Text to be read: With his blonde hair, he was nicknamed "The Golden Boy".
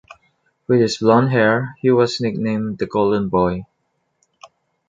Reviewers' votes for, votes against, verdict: 2, 0, accepted